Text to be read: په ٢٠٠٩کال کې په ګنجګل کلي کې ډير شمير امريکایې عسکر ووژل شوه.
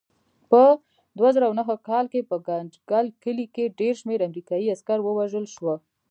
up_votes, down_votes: 0, 2